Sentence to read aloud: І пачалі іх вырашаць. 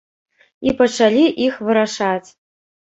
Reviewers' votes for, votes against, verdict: 2, 0, accepted